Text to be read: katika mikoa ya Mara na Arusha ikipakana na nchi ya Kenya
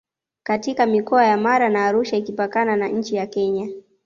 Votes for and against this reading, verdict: 2, 0, accepted